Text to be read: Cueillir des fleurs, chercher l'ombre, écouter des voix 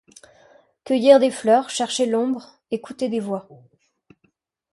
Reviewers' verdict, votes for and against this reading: accepted, 2, 0